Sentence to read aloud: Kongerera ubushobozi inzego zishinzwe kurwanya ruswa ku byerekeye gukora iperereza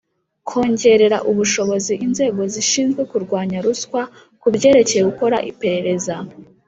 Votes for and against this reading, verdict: 2, 0, accepted